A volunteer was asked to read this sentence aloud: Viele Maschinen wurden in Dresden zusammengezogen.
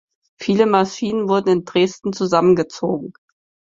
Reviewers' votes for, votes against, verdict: 6, 0, accepted